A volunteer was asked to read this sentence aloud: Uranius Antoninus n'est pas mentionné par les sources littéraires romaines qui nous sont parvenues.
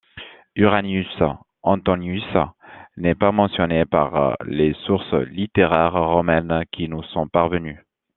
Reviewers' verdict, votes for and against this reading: rejected, 1, 2